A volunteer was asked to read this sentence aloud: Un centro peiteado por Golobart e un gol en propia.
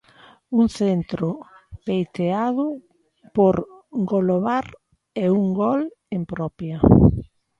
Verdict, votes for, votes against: accepted, 2, 0